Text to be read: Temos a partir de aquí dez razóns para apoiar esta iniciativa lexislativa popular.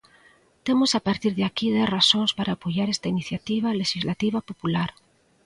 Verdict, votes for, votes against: accepted, 2, 0